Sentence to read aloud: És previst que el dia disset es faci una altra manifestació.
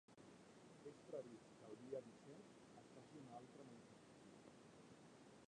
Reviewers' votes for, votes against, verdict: 0, 3, rejected